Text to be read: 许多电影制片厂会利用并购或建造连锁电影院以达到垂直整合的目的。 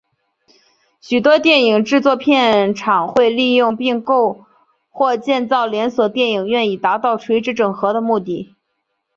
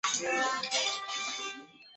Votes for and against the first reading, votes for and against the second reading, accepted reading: 2, 1, 0, 2, first